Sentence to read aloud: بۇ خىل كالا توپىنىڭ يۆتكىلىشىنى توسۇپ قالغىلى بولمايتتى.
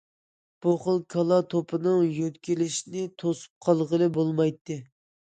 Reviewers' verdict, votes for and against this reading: accepted, 2, 0